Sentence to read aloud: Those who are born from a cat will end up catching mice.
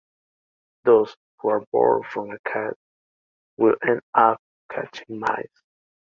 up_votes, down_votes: 2, 1